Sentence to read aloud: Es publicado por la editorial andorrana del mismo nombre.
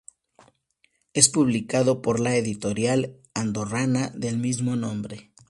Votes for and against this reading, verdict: 2, 0, accepted